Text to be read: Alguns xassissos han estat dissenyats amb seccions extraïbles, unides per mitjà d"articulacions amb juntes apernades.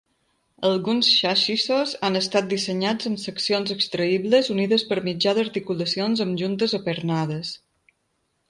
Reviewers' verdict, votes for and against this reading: accepted, 2, 0